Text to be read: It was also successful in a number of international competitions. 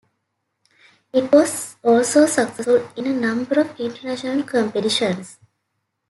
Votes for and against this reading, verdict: 2, 1, accepted